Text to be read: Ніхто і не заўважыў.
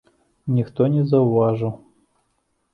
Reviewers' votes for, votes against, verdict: 1, 2, rejected